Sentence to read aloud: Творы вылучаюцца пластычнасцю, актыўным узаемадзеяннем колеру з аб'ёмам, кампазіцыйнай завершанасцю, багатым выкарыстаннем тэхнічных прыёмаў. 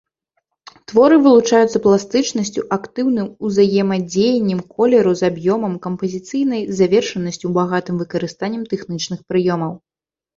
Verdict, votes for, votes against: rejected, 0, 2